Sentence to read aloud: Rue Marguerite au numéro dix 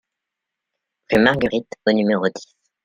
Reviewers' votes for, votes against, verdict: 0, 2, rejected